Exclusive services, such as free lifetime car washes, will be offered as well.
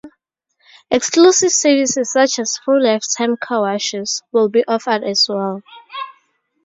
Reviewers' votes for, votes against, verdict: 2, 0, accepted